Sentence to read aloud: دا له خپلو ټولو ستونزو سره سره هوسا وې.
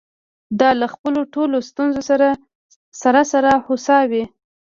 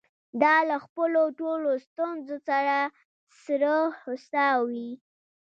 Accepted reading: second